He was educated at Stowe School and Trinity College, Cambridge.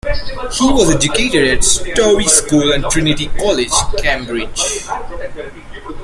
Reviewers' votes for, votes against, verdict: 2, 1, accepted